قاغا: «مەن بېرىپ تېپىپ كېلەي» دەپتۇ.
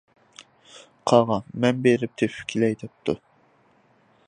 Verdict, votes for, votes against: accepted, 2, 0